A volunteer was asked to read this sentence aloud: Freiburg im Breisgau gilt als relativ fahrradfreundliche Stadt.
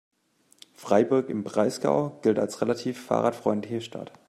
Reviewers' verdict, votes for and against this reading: accepted, 2, 0